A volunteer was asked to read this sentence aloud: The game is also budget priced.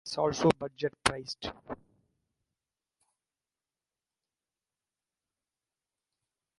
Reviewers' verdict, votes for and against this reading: rejected, 0, 2